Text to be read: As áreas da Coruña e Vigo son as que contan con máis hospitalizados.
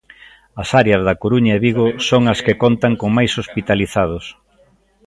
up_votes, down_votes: 0, 2